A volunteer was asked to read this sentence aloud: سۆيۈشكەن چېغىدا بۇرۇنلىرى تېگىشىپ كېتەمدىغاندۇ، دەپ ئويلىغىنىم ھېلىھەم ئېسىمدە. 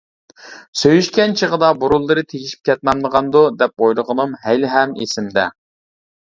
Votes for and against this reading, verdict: 0, 2, rejected